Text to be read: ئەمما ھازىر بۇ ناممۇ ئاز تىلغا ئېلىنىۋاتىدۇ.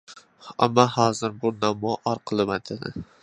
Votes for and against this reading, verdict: 0, 2, rejected